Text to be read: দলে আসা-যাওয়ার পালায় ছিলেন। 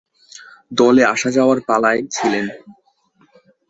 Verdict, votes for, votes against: accepted, 2, 0